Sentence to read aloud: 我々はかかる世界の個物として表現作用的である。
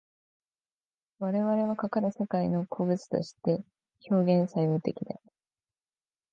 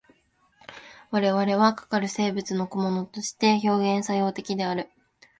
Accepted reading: second